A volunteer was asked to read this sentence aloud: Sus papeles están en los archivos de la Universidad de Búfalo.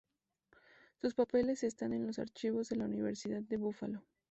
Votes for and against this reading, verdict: 4, 0, accepted